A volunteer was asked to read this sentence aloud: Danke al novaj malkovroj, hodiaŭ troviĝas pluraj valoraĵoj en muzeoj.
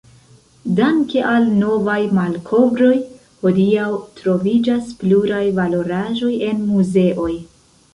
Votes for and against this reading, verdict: 2, 1, accepted